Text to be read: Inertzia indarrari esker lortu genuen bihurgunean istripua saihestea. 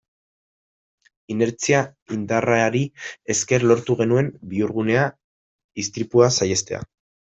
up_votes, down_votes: 0, 2